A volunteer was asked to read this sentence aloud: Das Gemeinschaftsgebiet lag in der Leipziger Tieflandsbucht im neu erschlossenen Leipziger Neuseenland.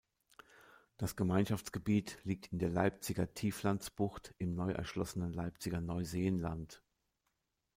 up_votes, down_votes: 1, 2